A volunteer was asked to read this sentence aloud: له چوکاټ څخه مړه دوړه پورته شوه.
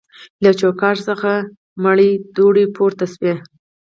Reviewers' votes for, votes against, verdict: 0, 2, rejected